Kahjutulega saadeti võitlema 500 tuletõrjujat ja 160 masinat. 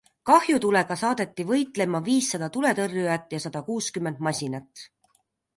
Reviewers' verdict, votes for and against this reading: rejected, 0, 2